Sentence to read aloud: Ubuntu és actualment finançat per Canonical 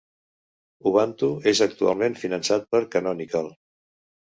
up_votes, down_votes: 1, 2